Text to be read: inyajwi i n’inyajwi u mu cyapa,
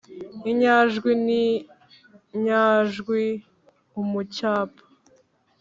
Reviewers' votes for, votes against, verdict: 1, 2, rejected